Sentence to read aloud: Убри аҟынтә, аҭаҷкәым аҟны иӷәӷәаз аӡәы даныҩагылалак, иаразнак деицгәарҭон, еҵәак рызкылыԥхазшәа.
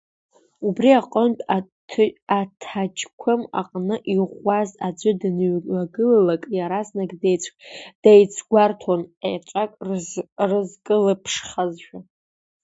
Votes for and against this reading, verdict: 0, 2, rejected